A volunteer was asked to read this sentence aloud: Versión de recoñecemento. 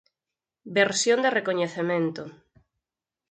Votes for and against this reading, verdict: 4, 0, accepted